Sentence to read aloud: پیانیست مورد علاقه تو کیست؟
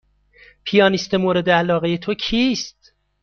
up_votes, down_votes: 2, 0